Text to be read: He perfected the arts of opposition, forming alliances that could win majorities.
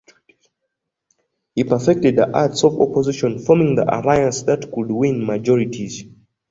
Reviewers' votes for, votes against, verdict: 1, 2, rejected